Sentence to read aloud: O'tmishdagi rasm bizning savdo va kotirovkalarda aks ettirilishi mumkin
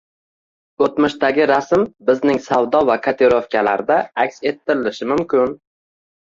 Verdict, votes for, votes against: accepted, 2, 0